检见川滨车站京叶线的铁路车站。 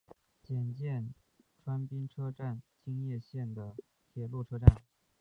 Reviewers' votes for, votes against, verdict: 2, 0, accepted